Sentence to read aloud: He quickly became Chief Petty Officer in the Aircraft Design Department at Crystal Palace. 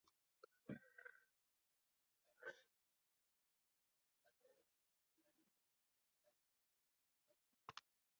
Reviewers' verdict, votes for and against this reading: rejected, 0, 2